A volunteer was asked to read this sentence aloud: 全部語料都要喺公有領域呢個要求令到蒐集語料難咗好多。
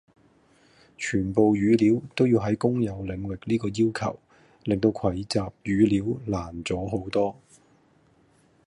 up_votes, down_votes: 1, 2